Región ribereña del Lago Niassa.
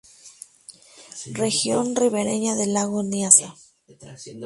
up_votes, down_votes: 2, 2